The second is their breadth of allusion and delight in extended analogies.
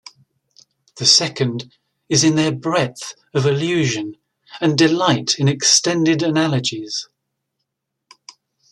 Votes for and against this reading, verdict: 0, 2, rejected